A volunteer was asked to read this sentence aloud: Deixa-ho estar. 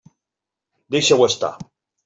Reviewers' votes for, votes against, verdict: 3, 0, accepted